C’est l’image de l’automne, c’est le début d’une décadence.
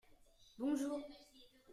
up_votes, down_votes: 0, 2